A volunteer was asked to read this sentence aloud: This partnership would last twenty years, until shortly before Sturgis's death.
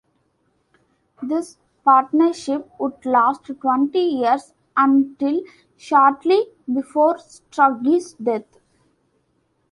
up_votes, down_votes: 2, 1